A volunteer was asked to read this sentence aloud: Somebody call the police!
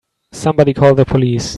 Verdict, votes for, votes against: accepted, 2, 0